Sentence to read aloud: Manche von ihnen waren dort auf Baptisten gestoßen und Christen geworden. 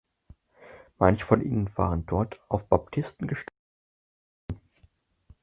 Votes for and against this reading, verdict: 0, 4, rejected